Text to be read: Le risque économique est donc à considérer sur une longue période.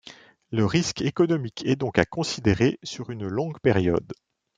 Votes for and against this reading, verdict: 2, 0, accepted